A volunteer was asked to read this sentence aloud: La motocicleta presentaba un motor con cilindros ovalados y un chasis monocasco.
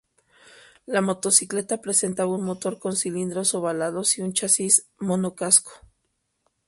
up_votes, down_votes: 2, 0